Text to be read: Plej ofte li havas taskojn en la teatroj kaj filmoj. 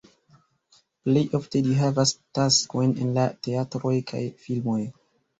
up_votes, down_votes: 1, 2